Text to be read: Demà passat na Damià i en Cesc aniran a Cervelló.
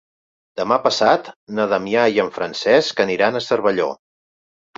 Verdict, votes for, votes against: rejected, 1, 2